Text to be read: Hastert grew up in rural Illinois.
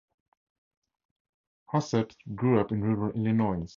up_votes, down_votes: 2, 0